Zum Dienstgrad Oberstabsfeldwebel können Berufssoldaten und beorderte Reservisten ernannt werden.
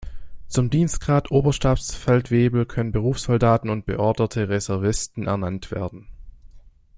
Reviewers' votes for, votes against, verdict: 2, 0, accepted